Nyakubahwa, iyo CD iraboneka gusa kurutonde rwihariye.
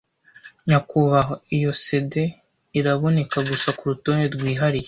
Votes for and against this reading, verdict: 2, 0, accepted